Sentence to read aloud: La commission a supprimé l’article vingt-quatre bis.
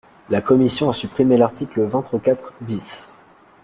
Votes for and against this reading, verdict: 1, 2, rejected